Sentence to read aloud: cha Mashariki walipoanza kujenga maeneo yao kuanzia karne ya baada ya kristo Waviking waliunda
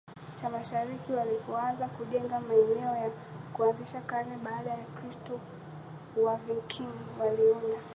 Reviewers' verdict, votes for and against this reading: rejected, 0, 2